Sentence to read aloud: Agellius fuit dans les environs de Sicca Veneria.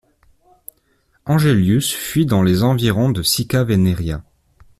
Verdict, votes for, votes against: rejected, 1, 2